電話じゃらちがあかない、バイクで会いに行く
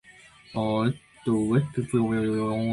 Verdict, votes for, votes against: rejected, 0, 2